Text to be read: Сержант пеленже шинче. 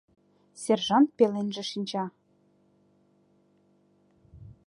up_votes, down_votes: 1, 2